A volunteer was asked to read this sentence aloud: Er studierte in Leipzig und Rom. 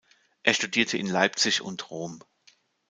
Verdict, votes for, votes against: accepted, 2, 0